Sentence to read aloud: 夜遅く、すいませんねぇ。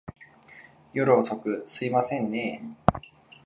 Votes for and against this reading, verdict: 2, 0, accepted